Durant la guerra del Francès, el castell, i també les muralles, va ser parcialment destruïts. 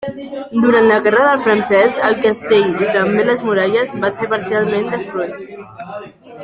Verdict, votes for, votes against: rejected, 1, 2